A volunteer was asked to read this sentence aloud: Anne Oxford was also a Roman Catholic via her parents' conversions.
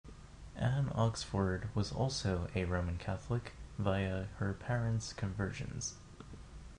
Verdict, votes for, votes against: accepted, 2, 0